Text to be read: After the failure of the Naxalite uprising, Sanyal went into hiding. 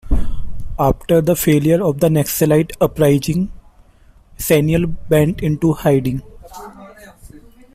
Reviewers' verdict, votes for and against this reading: rejected, 1, 2